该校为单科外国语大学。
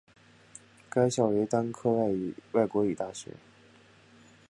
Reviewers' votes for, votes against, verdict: 1, 2, rejected